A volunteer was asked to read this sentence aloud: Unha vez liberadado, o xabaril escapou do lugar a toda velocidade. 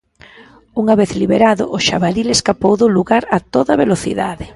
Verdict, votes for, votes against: rejected, 1, 2